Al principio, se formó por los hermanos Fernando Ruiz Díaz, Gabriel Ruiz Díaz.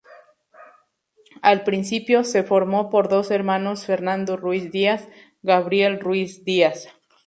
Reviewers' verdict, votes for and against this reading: rejected, 2, 2